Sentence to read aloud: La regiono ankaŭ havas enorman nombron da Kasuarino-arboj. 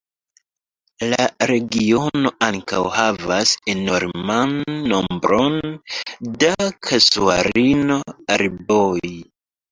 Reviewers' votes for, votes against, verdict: 1, 2, rejected